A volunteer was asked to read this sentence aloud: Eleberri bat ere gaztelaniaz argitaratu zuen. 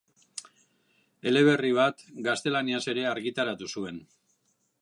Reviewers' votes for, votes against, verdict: 0, 2, rejected